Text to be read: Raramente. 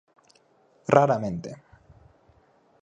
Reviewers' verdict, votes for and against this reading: accepted, 4, 0